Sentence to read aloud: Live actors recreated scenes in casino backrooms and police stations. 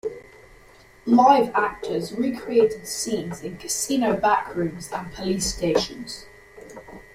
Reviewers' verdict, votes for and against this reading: accepted, 3, 0